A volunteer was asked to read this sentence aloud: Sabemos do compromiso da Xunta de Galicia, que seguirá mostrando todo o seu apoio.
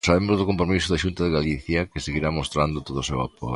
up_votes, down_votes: 0, 2